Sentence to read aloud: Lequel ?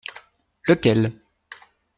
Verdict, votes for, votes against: accepted, 2, 0